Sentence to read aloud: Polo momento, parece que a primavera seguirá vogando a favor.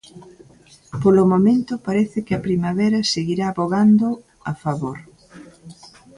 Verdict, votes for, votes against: accepted, 2, 0